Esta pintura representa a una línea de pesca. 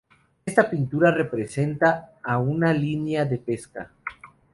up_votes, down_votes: 0, 2